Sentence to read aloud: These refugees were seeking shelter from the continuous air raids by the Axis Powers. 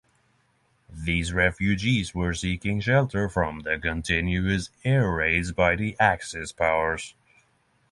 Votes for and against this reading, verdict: 6, 3, accepted